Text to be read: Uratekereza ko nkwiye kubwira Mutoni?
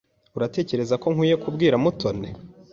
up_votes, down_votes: 2, 0